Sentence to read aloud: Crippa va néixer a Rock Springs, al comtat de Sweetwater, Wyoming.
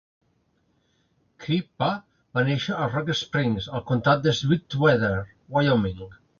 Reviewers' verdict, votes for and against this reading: rejected, 1, 2